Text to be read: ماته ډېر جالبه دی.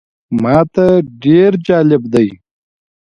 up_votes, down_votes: 1, 2